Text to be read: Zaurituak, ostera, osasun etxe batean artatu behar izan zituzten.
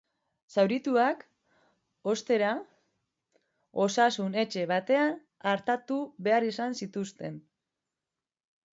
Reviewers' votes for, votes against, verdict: 2, 0, accepted